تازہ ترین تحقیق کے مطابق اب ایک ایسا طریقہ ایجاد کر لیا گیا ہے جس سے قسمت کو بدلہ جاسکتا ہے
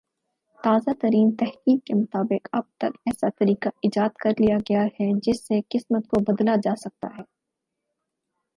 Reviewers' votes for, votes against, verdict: 4, 0, accepted